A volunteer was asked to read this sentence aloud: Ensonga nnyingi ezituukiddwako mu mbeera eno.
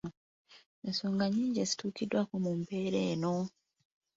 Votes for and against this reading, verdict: 3, 0, accepted